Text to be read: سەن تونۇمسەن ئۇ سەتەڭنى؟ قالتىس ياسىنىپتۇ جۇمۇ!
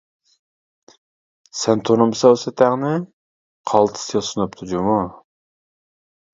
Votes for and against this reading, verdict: 0, 2, rejected